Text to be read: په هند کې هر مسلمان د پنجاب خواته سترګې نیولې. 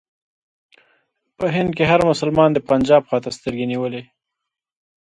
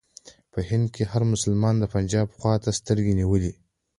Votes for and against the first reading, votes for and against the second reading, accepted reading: 2, 0, 1, 2, first